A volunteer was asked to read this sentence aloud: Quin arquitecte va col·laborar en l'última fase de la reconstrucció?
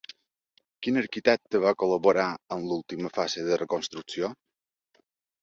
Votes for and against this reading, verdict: 1, 2, rejected